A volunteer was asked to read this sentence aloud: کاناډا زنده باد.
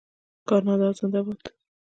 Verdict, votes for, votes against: rejected, 0, 2